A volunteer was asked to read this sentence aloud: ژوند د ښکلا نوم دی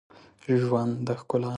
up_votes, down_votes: 0, 2